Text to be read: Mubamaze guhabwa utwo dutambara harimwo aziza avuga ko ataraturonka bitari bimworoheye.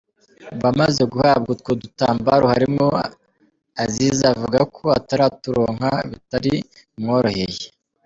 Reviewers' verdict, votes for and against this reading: rejected, 3, 4